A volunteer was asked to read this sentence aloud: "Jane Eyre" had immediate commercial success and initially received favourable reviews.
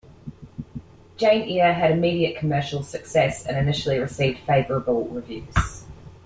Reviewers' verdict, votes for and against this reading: accepted, 2, 0